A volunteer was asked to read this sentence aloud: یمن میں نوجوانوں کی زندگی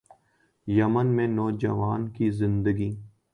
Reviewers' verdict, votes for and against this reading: rejected, 1, 2